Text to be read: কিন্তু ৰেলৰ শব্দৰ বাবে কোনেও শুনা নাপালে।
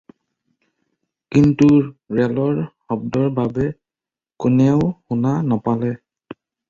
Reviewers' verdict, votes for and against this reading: accepted, 4, 0